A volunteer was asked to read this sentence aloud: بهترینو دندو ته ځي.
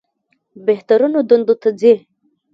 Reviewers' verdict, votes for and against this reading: rejected, 1, 2